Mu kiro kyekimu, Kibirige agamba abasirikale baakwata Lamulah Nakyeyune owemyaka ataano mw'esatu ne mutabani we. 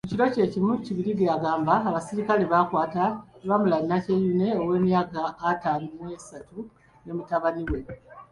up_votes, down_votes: 2, 0